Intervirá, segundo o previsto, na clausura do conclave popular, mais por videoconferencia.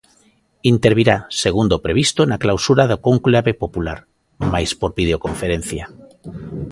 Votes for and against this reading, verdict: 0, 2, rejected